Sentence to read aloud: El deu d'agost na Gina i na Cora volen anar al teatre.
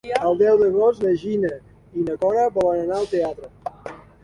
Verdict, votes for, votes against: accepted, 3, 0